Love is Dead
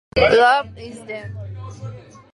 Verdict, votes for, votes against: rejected, 0, 2